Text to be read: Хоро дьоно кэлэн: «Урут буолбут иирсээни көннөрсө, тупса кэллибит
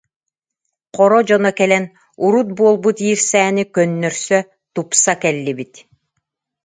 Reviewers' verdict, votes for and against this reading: accepted, 2, 0